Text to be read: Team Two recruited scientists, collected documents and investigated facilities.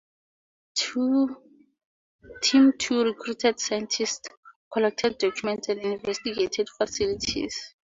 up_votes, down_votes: 0, 2